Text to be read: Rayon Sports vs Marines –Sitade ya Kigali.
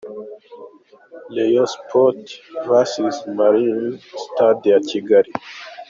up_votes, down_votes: 2, 0